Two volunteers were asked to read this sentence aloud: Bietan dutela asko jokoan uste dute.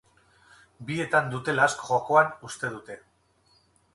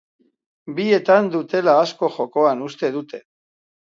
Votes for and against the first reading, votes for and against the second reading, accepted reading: 2, 2, 2, 0, second